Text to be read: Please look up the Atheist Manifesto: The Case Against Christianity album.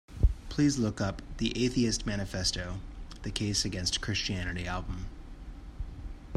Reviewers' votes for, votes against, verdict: 4, 0, accepted